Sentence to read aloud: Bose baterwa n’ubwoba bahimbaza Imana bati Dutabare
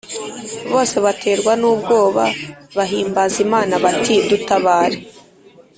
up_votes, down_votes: 2, 0